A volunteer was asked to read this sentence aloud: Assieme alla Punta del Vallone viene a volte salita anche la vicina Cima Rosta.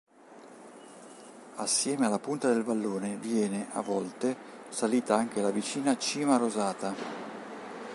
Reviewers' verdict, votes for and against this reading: rejected, 1, 2